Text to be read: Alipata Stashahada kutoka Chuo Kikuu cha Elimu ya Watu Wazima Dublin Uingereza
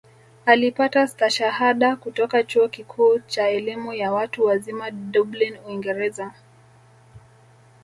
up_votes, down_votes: 0, 2